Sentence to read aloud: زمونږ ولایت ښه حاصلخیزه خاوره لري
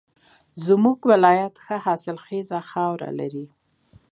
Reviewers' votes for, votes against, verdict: 2, 0, accepted